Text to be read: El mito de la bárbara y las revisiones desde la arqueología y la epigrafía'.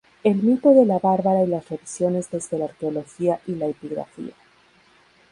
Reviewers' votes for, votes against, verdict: 0, 2, rejected